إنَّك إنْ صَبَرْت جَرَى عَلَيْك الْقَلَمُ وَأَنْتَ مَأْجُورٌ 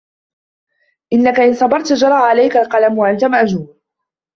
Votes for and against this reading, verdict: 0, 2, rejected